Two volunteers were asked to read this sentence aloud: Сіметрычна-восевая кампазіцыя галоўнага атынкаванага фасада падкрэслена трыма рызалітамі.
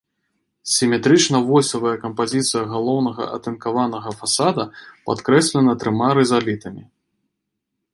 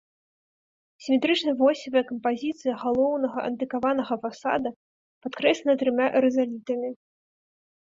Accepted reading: first